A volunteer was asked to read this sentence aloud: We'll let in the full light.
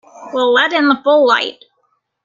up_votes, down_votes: 2, 1